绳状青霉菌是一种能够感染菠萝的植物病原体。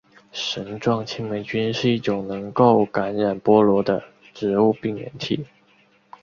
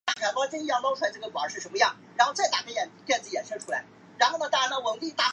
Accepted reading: first